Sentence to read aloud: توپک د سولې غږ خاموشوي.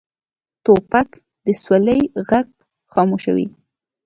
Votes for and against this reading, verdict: 2, 0, accepted